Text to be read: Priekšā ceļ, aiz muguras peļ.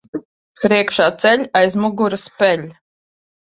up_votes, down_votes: 2, 0